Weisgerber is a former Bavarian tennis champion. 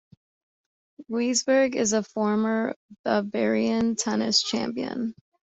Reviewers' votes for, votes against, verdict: 1, 2, rejected